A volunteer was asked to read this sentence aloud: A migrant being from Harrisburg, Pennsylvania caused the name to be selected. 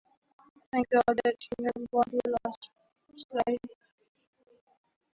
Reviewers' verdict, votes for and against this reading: rejected, 0, 3